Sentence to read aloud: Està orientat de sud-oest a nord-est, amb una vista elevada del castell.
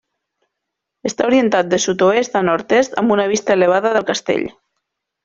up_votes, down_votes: 3, 0